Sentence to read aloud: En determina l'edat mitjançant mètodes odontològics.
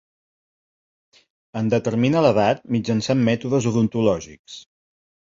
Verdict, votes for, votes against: accepted, 2, 0